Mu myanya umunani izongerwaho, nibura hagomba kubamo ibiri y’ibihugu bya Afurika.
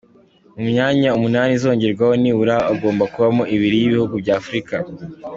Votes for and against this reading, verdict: 2, 1, accepted